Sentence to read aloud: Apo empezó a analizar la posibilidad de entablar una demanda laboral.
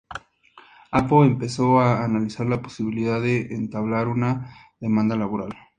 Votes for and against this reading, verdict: 2, 0, accepted